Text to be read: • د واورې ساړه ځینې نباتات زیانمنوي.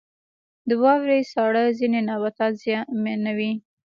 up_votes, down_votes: 2, 1